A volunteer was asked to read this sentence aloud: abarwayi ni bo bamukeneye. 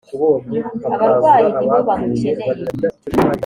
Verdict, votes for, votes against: accepted, 3, 1